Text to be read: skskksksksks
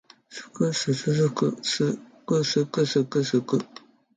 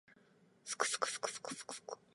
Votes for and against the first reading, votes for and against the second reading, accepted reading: 4, 0, 0, 2, first